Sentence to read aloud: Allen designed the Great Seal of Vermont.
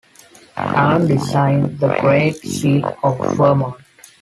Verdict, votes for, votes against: accepted, 2, 1